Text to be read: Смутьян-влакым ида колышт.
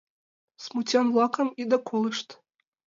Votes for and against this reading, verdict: 2, 1, accepted